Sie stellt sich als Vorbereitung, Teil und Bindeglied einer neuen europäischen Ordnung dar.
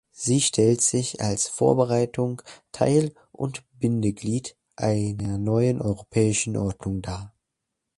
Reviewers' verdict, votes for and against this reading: accepted, 2, 0